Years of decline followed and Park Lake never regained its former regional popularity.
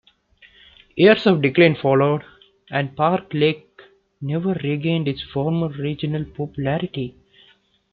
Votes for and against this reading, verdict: 2, 0, accepted